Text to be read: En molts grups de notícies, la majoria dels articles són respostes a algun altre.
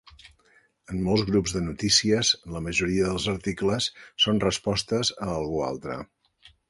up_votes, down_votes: 1, 2